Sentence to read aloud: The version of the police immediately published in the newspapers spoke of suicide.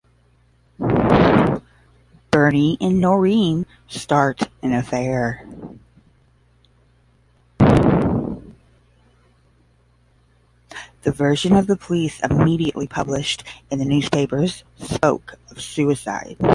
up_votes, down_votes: 0, 5